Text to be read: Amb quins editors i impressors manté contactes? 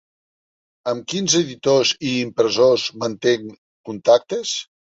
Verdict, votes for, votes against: rejected, 0, 2